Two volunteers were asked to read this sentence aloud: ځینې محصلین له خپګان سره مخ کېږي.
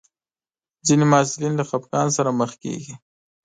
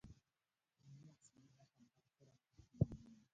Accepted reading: first